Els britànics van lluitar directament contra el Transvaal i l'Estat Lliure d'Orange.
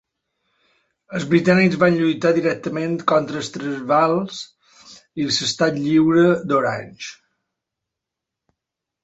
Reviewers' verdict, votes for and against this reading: rejected, 1, 2